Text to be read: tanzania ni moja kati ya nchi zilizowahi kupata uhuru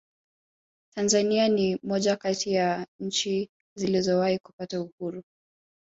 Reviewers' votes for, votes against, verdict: 2, 0, accepted